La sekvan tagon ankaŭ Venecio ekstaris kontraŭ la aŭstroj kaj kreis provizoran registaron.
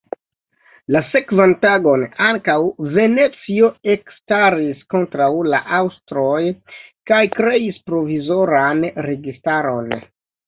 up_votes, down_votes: 1, 2